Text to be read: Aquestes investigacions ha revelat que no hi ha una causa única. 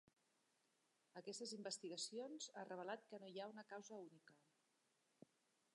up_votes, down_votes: 0, 2